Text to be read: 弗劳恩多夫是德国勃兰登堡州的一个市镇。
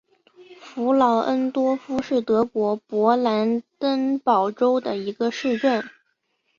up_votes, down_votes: 2, 1